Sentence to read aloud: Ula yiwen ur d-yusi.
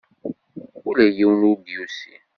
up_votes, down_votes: 2, 0